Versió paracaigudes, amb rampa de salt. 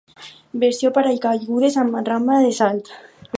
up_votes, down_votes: 4, 2